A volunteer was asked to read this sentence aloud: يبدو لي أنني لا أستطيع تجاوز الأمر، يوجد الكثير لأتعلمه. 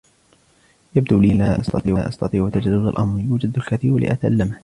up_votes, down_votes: 1, 2